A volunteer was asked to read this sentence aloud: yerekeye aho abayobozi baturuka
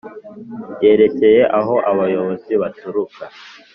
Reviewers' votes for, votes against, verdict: 2, 0, accepted